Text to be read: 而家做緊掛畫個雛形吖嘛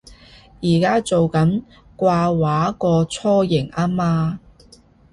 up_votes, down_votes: 2, 0